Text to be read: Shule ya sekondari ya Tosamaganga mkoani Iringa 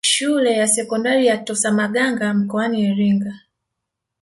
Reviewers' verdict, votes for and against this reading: rejected, 1, 2